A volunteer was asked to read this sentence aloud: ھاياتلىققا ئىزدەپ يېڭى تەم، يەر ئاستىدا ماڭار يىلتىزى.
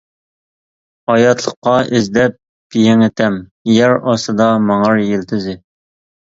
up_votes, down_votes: 2, 0